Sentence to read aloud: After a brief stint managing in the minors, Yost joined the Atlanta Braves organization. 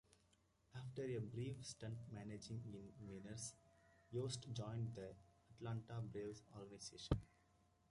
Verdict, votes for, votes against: accepted, 2, 1